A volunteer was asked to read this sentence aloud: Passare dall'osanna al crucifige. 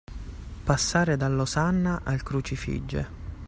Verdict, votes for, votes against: accepted, 2, 0